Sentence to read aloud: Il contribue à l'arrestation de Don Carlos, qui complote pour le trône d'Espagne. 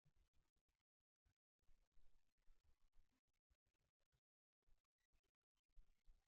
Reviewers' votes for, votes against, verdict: 0, 2, rejected